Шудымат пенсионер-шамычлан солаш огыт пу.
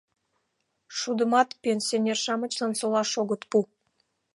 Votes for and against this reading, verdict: 2, 0, accepted